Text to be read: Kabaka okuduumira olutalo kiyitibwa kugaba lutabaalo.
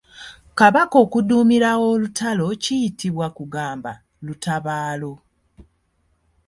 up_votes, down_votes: 1, 2